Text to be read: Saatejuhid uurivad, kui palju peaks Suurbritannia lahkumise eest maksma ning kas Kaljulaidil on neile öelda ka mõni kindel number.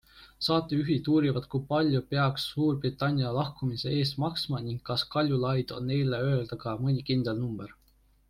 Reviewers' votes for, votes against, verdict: 1, 2, rejected